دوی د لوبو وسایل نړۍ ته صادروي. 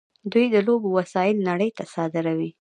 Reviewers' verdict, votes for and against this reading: accepted, 2, 0